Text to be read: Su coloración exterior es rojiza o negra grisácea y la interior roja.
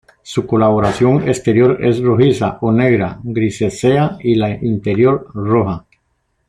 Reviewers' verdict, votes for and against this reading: rejected, 0, 2